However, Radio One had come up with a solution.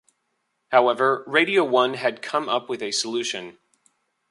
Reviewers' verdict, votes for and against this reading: accepted, 2, 1